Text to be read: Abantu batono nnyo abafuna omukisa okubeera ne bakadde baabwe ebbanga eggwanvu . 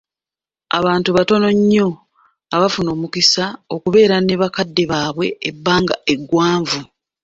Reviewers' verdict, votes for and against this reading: accepted, 2, 0